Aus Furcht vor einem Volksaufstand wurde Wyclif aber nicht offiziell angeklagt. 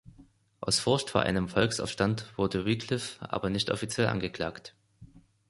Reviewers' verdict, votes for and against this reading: rejected, 0, 2